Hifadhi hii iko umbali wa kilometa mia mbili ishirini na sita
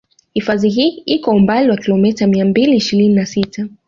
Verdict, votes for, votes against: accepted, 2, 1